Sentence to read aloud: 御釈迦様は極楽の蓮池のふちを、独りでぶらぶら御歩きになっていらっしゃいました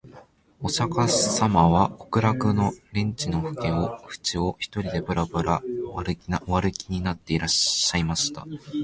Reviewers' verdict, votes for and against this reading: rejected, 0, 2